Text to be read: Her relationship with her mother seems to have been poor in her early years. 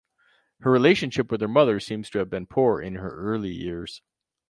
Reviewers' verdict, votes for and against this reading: accepted, 4, 0